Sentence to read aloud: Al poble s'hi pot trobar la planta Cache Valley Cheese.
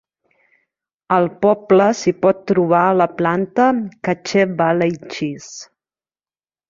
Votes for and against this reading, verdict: 2, 0, accepted